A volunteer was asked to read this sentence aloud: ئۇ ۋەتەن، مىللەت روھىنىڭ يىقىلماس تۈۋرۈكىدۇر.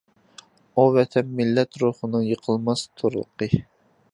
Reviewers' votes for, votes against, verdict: 0, 2, rejected